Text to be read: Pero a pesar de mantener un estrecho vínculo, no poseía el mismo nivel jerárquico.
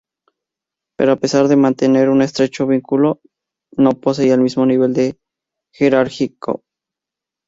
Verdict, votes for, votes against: rejected, 0, 2